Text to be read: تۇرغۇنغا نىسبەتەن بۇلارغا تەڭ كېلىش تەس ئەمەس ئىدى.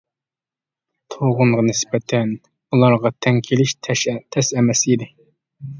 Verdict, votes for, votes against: rejected, 0, 2